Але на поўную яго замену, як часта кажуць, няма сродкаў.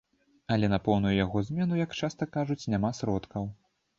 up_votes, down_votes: 2, 0